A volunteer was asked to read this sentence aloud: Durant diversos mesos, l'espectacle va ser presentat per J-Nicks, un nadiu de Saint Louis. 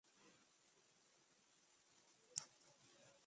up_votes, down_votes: 0, 2